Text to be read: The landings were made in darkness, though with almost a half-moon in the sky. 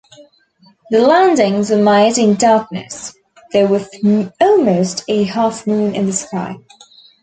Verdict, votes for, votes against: accepted, 2, 0